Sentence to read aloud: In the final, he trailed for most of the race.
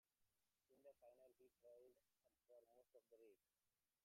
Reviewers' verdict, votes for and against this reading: rejected, 0, 2